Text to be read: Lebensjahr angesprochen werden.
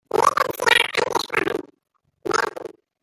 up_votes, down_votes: 0, 2